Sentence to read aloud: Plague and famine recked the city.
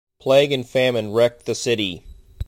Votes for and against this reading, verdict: 2, 0, accepted